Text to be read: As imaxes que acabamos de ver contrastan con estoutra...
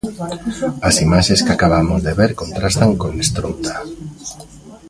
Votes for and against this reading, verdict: 0, 3, rejected